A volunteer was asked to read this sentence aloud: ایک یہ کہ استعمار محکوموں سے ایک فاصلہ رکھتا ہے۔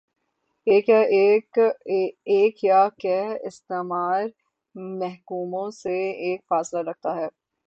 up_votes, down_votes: 0, 3